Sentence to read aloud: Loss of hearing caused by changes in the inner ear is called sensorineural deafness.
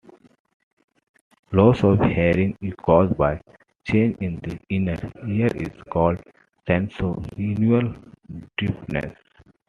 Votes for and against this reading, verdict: 2, 1, accepted